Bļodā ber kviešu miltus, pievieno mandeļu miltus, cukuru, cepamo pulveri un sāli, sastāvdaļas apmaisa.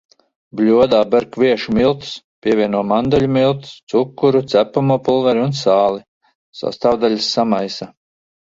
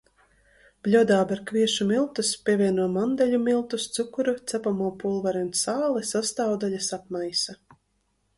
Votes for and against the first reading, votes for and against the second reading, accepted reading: 0, 2, 2, 0, second